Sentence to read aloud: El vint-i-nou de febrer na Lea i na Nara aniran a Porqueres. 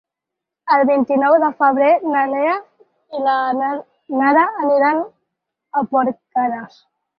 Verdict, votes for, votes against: rejected, 0, 4